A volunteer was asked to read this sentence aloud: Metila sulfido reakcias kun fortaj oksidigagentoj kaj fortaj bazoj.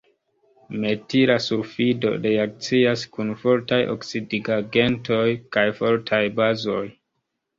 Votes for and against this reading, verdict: 2, 3, rejected